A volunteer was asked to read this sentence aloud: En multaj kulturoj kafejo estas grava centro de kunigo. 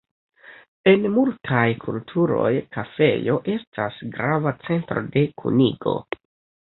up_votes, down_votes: 2, 0